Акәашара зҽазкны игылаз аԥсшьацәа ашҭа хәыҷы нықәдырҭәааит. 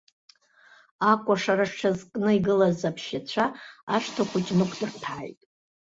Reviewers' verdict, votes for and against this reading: rejected, 1, 2